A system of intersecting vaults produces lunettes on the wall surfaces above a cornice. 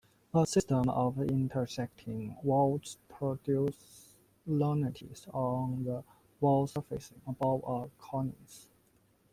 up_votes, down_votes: 0, 2